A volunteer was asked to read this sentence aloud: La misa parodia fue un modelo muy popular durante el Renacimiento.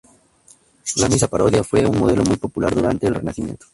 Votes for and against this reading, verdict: 2, 0, accepted